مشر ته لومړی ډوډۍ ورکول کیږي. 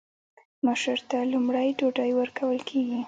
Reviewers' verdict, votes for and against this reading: accepted, 2, 0